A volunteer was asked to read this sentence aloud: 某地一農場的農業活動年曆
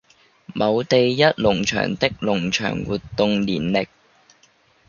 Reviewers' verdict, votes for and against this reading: rejected, 1, 2